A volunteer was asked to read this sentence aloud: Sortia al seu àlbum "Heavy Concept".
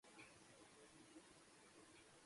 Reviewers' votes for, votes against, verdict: 0, 2, rejected